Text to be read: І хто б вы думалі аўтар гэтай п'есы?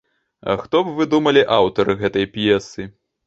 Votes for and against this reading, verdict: 0, 2, rejected